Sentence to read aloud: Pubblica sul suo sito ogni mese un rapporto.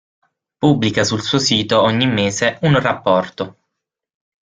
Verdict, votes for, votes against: accepted, 6, 0